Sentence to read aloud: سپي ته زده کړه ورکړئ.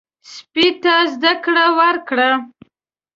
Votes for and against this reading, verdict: 0, 2, rejected